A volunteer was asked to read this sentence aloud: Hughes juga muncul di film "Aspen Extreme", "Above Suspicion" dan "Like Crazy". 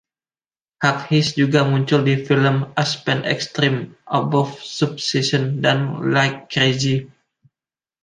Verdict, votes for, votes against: accepted, 2, 0